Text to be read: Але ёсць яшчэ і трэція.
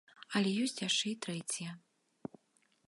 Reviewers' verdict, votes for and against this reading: accepted, 2, 0